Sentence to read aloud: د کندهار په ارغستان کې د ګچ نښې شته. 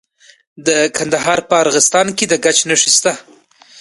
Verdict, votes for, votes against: accepted, 2, 0